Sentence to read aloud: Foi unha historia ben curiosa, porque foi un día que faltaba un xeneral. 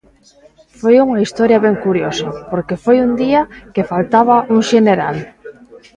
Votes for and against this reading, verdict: 2, 0, accepted